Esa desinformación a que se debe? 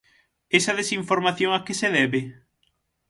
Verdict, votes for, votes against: accepted, 9, 0